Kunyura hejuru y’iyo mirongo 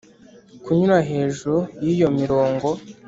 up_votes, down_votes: 2, 0